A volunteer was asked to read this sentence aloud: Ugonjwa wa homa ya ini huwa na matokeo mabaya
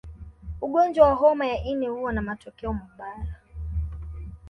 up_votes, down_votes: 1, 2